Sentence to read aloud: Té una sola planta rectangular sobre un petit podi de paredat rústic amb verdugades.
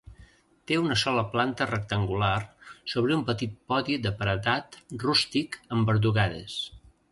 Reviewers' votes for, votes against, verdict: 2, 0, accepted